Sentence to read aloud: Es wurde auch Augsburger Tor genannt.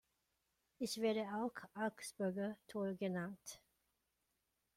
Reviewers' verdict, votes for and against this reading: rejected, 0, 2